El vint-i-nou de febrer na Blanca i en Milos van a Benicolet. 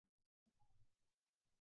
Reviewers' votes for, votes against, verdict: 0, 2, rejected